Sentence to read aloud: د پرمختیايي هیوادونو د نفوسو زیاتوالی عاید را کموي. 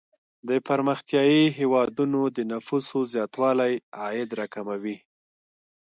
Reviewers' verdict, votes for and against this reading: accepted, 3, 0